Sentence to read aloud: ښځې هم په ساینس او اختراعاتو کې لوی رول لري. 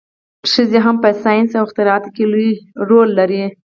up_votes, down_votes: 2, 4